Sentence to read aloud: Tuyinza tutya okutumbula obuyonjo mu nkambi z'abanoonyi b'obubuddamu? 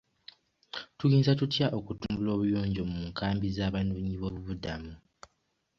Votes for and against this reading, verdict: 2, 0, accepted